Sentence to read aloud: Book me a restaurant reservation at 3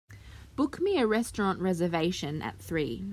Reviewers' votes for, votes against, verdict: 0, 2, rejected